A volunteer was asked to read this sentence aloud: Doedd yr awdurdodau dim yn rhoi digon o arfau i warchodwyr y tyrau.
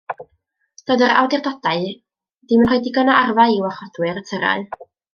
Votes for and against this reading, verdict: 1, 2, rejected